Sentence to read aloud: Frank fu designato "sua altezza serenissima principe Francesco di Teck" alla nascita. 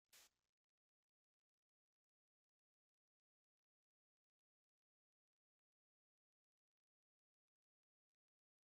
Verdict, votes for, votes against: rejected, 0, 2